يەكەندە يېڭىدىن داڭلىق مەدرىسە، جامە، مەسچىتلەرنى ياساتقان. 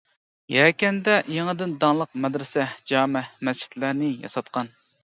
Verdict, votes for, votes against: accepted, 2, 0